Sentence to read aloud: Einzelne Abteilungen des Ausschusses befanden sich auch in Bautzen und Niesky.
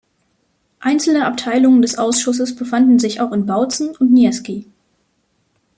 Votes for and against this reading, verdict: 2, 0, accepted